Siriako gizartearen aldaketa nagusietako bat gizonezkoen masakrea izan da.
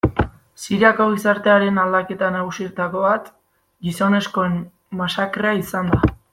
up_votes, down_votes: 2, 0